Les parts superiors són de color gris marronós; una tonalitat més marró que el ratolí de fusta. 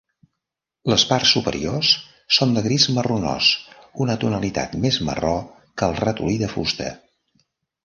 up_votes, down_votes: 1, 2